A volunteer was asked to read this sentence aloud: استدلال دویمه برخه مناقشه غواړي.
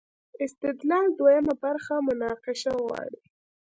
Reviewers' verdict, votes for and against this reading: accepted, 2, 1